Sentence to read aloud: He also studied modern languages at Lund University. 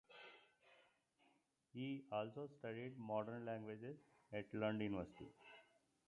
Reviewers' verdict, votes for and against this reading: accepted, 2, 1